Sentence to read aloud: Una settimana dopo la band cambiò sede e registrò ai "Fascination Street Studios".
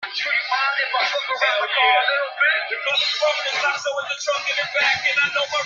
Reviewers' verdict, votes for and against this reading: rejected, 0, 2